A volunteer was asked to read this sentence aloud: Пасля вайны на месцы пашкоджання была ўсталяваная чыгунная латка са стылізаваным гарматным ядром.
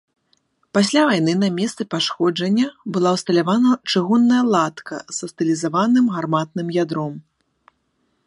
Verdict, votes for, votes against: accepted, 2, 1